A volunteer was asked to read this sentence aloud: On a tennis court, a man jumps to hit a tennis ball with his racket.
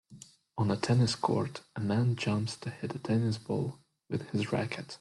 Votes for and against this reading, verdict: 4, 0, accepted